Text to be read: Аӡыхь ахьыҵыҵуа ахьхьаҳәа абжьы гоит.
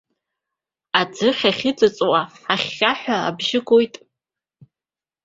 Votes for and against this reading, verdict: 0, 2, rejected